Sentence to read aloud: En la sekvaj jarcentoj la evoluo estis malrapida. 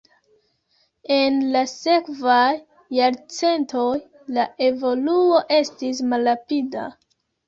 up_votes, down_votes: 1, 2